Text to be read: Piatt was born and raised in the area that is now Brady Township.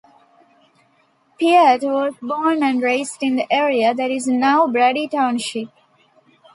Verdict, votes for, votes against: accepted, 2, 0